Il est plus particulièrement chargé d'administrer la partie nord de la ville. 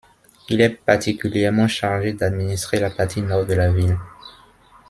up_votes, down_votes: 0, 2